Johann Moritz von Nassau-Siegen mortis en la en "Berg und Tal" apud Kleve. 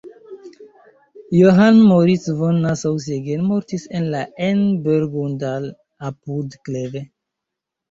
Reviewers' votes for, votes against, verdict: 0, 3, rejected